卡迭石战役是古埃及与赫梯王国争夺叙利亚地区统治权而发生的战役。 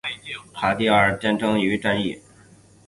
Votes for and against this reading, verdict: 4, 5, rejected